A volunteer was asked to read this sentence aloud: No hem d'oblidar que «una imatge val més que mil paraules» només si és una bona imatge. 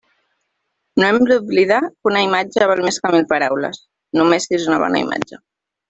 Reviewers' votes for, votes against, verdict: 2, 1, accepted